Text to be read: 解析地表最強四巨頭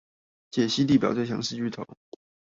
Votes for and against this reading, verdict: 0, 2, rejected